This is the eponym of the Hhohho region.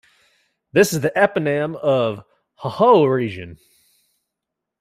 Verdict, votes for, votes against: accepted, 2, 1